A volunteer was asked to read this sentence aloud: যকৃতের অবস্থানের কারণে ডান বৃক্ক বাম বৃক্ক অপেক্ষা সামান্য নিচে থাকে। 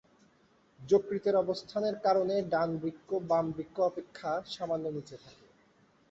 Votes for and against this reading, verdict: 3, 0, accepted